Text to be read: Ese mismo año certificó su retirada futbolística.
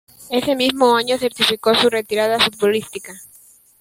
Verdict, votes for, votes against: accepted, 2, 0